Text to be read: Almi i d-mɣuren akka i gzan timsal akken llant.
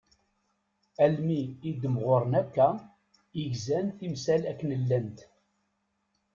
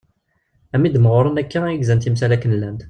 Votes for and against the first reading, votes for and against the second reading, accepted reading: 2, 0, 1, 2, first